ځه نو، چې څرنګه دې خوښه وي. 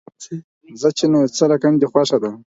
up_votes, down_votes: 4, 0